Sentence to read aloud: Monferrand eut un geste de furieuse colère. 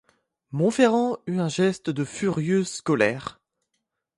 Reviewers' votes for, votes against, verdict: 2, 0, accepted